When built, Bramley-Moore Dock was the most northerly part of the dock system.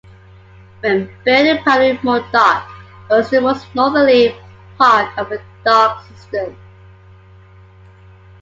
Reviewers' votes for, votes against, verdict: 2, 1, accepted